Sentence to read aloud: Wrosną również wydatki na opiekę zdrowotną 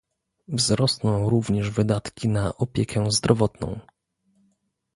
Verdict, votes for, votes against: rejected, 0, 2